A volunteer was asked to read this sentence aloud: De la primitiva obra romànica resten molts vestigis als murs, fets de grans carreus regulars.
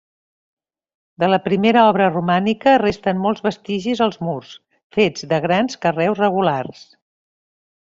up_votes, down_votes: 0, 2